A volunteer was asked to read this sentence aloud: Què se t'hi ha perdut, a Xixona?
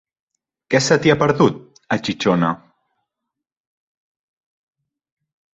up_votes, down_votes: 1, 2